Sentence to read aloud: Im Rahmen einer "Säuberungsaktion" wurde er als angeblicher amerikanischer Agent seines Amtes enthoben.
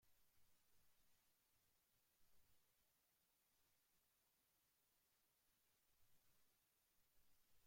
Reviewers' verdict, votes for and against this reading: rejected, 0, 2